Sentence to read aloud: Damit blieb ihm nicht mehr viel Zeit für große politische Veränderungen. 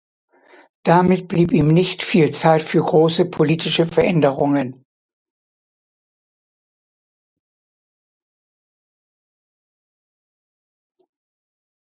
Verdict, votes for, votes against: rejected, 0, 2